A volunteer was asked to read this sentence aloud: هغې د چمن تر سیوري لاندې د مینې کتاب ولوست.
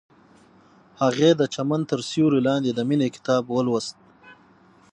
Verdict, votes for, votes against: accepted, 6, 0